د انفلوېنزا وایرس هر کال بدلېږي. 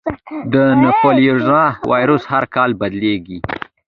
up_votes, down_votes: 2, 1